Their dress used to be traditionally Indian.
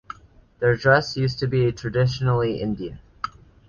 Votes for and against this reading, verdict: 2, 1, accepted